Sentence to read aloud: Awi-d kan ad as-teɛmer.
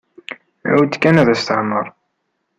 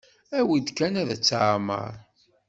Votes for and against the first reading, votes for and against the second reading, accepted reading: 2, 0, 1, 2, first